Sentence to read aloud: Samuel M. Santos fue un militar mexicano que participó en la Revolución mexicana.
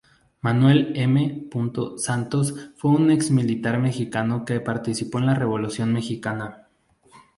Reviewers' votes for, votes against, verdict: 0, 2, rejected